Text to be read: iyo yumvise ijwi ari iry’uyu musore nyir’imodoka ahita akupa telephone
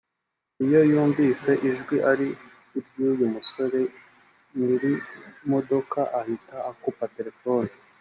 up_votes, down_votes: 2, 0